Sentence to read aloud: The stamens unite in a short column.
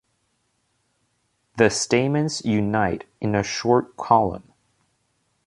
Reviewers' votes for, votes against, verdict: 2, 0, accepted